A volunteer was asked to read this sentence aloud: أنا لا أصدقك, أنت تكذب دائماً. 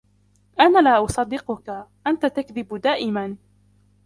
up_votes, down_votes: 1, 2